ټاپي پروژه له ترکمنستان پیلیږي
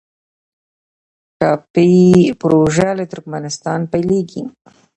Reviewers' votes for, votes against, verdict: 0, 2, rejected